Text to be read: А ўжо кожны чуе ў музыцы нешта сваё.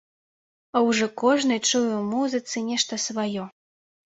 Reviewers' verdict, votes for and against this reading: accepted, 2, 0